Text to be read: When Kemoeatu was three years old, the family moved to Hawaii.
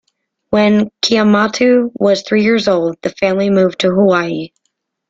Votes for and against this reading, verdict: 2, 0, accepted